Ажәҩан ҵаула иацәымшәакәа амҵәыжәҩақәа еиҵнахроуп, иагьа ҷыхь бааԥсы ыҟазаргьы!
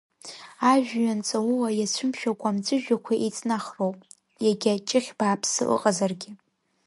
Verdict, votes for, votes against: accepted, 2, 0